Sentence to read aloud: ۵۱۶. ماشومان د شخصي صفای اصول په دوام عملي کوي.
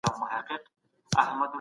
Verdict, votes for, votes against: rejected, 0, 2